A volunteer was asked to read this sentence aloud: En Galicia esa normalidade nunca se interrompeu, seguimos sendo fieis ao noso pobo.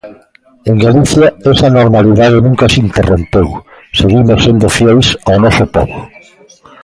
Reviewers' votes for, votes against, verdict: 1, 2, rejected